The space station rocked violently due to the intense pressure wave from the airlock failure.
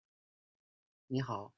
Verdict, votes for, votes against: rejected, 0, 2